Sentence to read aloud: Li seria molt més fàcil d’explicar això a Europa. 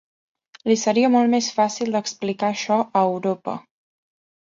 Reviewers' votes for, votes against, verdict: 2, 0, accepted